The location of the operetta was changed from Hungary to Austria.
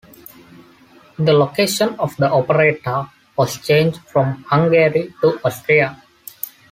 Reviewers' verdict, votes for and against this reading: accepted, 2, 1